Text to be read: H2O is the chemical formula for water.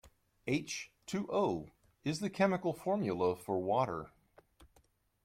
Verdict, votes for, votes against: rejected, 0, 2